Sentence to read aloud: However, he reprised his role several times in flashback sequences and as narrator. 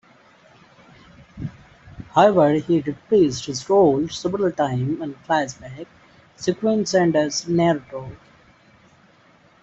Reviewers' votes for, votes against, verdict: 0, 2, rejected